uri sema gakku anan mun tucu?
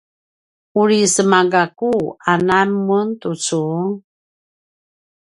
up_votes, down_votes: 2, 0